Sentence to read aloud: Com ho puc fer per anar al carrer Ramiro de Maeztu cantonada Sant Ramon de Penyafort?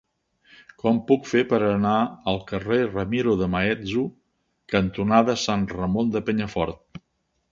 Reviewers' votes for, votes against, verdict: 1, 2, rejected